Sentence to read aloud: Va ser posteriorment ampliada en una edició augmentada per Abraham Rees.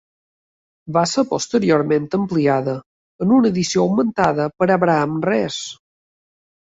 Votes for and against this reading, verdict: 3, 0, accepted